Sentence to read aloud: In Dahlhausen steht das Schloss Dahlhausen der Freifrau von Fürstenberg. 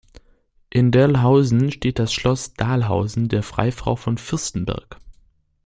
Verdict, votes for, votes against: rejected, 1, 2